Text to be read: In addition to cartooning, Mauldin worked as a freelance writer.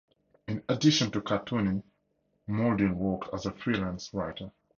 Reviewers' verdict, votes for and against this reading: accepted, 4, 0